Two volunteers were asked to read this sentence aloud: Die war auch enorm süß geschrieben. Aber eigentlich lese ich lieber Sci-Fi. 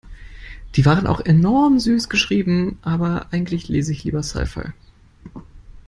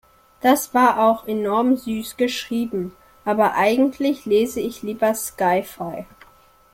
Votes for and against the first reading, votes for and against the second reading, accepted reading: 2, 1, 1, 2, first